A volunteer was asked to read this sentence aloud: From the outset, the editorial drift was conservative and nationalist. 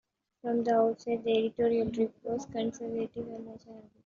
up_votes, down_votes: 2, 1